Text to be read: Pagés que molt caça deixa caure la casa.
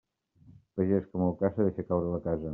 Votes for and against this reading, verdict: 2, 0, accepted